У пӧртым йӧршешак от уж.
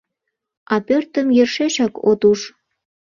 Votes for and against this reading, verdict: 0, 2, rejected